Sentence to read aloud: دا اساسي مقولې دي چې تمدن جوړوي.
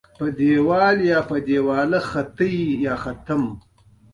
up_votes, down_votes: 0, 2